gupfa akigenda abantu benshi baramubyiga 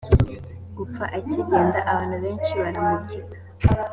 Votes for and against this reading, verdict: 4, 0, accepted